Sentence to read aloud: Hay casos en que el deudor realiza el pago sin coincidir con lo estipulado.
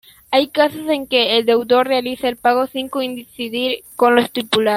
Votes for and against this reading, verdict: 0, 2, rejected